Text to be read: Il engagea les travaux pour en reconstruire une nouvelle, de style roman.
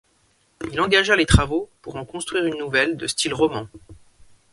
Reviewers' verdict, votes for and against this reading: rejected, 1, 3